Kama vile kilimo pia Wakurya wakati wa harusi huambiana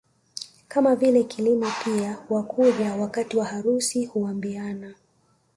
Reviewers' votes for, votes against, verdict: 2, 0, accepted